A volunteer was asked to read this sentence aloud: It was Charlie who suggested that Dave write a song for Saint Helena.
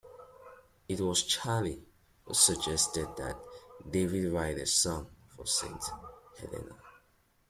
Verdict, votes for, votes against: accepted, 2, 0